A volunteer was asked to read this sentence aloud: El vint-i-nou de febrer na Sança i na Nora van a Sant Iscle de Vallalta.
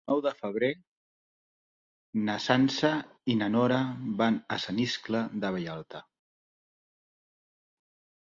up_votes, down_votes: 1, 2